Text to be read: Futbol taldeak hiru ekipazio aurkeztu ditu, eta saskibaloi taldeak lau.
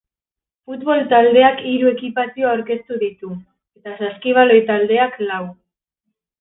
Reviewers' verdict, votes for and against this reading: accepted, 2, 0